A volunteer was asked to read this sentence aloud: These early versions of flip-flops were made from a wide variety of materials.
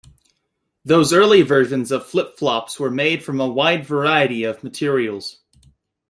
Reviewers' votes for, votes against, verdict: 1, 2, rejected